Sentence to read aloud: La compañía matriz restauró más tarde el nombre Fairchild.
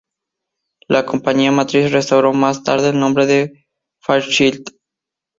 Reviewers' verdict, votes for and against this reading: rejected, 0, 2